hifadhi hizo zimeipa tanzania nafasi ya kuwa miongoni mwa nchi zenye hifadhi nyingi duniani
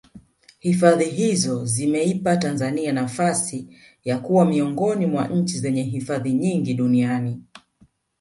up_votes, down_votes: 0, 2